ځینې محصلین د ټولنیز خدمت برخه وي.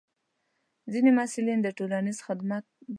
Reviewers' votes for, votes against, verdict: 0, 2, rejected